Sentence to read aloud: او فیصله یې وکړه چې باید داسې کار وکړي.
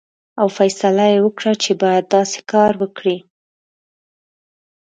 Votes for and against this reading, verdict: 2, 0, accepted